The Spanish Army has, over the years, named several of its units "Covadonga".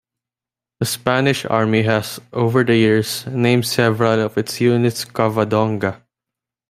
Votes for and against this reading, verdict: 2, 0, accepted